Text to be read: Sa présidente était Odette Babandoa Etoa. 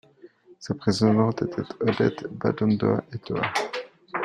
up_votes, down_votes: 0, 2